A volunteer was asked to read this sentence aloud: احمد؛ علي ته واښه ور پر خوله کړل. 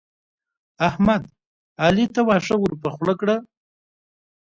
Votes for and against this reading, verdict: 2, 1, accepted